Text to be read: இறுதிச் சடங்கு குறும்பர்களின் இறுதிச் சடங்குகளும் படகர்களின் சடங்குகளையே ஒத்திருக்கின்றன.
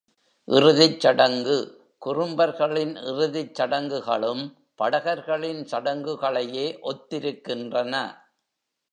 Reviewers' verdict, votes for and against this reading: rejected, 1, 2